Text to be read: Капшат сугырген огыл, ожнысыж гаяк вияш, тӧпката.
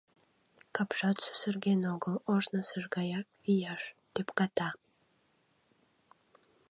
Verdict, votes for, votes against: rejected, 1, 2